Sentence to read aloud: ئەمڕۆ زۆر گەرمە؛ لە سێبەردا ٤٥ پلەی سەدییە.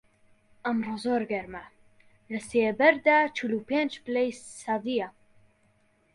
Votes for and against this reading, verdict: 0, 2, rejected